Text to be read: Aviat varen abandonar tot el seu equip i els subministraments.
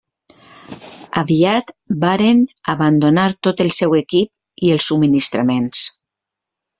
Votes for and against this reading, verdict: 2, 0, accepted